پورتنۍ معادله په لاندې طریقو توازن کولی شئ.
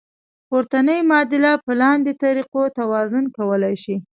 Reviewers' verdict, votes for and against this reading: accepted, 2, 0